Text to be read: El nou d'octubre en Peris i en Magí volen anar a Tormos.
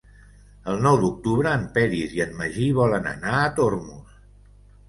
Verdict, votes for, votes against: accepted, 2, 0